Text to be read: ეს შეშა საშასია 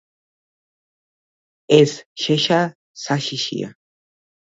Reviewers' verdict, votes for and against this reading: rejected, 0, 2